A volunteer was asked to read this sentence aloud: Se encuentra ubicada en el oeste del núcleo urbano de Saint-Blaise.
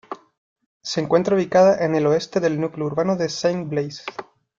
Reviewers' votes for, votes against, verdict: 2, 0, accepted